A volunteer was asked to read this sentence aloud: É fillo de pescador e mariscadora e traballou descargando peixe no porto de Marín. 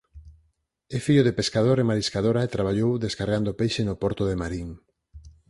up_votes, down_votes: 4, 0